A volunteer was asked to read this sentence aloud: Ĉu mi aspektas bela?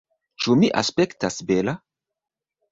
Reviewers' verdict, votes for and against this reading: rejected, 1, 2